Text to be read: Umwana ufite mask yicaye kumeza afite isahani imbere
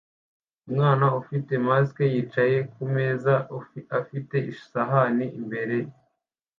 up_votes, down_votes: 0, 2